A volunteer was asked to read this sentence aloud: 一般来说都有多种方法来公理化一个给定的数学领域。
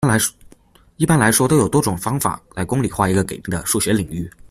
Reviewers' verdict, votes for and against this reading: rejected, 1, 2